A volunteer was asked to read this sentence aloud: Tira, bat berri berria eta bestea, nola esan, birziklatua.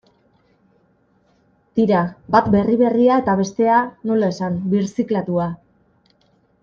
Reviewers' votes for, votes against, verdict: 2, 0, accepted